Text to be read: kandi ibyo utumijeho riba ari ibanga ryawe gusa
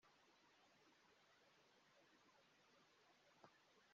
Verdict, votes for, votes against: rejected, 0, 2